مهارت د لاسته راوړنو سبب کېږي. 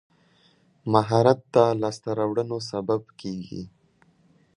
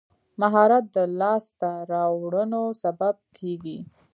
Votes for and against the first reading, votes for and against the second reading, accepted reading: 2, 0, 1, 2, first